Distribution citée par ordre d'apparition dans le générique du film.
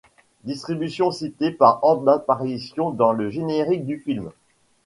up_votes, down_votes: 2, 0